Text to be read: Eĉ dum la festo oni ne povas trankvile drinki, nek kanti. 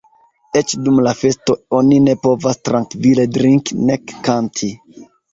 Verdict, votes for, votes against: accepted, 2, 1